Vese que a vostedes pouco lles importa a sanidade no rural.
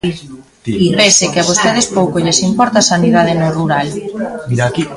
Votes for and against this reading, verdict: 0, 2, rejected